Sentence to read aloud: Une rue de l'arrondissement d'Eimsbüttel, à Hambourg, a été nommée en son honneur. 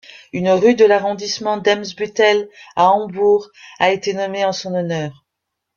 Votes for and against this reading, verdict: 2, 0, accepted